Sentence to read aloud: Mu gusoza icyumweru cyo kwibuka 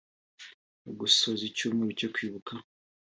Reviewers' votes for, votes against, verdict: 2, 0, accepted